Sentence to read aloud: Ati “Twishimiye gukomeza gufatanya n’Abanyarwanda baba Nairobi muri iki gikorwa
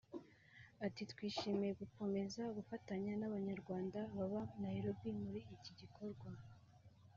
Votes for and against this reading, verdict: 2, 1, accepted